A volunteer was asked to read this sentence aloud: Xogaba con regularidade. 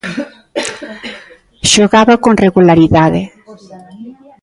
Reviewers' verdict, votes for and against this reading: rejected, 0, 2